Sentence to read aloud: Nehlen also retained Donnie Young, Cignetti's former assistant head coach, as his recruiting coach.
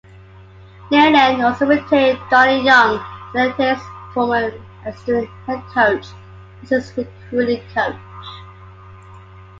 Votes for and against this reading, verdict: 2, 0, accepted